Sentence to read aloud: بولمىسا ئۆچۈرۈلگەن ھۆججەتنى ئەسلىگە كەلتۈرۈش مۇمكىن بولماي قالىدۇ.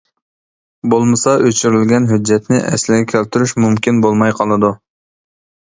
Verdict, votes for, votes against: accepted, 2, 0